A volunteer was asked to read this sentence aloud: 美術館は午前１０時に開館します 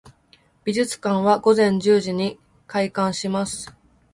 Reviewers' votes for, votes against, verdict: 0, 2, rejected